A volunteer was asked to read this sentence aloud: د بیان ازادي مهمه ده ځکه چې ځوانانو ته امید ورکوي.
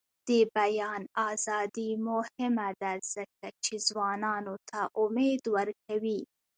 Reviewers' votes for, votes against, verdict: 1, 2, rejected